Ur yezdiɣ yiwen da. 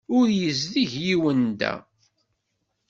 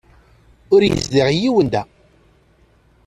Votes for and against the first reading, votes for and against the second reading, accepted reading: 1, 2, 2, 1, second